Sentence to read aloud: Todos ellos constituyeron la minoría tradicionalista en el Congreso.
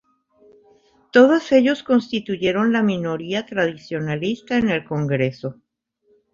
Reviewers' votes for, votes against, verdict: 1, 2, rejected